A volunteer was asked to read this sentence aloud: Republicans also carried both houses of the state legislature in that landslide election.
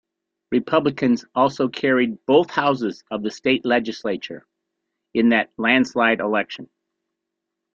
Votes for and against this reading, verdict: 2, 0, accepted